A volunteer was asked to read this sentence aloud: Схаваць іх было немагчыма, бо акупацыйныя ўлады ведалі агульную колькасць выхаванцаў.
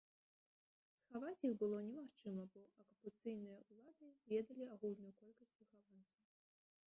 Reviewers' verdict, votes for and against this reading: rejected, 0, 2